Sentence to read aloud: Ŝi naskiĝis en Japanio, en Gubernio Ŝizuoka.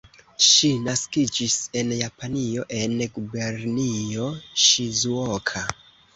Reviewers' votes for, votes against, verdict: 2, 0, accepted